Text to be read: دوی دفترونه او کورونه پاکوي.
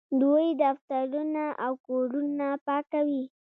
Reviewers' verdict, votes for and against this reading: rejected, 1, 2